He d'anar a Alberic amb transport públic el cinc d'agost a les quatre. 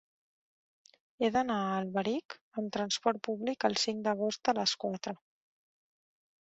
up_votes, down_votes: 1, 2